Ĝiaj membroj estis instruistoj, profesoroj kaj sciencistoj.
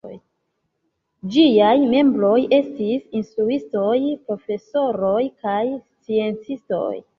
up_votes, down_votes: 2, 0